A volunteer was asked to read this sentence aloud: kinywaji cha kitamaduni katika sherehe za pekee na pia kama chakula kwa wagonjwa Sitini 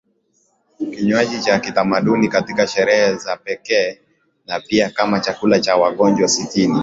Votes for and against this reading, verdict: 2, 0, accepted